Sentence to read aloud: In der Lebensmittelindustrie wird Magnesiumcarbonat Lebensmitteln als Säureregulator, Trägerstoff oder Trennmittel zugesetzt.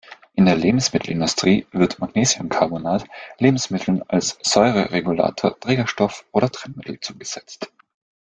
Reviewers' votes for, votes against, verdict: 2, 0, accepted